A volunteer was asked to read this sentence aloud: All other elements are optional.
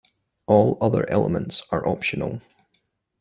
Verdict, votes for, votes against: accepted, 2, 0